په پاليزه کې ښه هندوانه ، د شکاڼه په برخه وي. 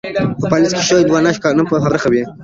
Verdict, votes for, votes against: rejected, 2, 3